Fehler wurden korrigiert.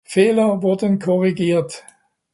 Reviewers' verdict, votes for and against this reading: accepted, 2, 0